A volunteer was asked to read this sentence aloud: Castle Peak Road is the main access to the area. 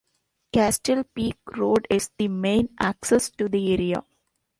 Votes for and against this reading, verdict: 2, 0, accepted